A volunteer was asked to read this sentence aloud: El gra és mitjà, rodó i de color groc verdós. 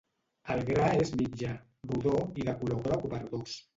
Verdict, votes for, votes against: rejected, 0, 2